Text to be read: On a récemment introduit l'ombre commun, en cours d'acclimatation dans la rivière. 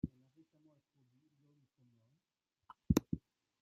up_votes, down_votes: 0, 2